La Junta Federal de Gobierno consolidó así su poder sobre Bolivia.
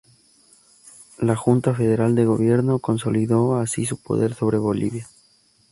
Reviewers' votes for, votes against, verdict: 2, 0, accepted